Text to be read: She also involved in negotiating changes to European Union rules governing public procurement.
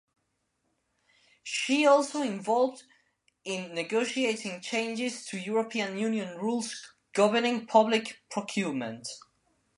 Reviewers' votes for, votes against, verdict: 2, 0, accepted